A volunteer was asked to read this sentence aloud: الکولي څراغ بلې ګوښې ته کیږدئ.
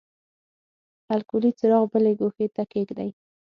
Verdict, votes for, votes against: accepted, 9, 0